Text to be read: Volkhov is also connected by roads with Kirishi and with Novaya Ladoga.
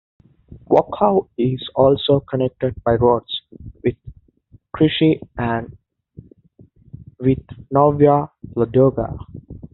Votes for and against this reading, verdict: 0, 2, rejected